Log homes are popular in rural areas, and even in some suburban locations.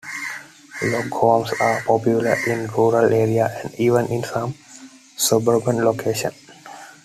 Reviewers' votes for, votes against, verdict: 2, 0, accepted